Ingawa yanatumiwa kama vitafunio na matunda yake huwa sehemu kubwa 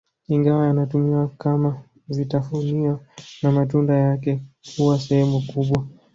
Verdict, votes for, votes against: accepted, 2, 0